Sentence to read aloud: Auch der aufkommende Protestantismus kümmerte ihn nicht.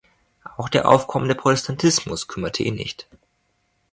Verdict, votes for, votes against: rejected, 0, 2